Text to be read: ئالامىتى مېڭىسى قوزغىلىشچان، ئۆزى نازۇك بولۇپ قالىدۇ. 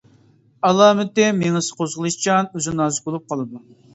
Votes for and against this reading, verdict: 2, 1, accepted